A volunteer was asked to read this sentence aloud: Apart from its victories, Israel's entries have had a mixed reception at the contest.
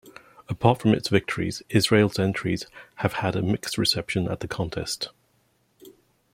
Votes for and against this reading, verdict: 2, 0, accepted